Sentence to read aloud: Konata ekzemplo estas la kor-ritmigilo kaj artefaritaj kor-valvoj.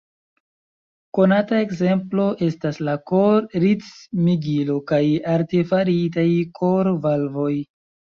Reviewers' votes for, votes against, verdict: 3, 1, accepted